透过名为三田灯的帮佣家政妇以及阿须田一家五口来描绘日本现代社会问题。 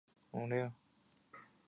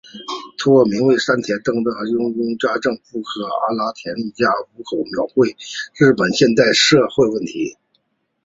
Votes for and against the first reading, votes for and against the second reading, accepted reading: 5, 1, 1, 2, first